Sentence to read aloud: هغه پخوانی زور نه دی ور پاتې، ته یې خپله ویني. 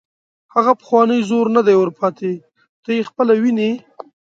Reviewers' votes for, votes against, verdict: 2, 0, accepted